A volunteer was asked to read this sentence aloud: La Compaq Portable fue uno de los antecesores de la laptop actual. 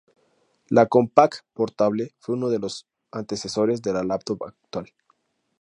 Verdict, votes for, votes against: accepted, 4, 0